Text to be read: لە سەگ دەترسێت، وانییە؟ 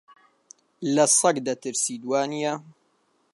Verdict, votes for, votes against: rejected, 0, 2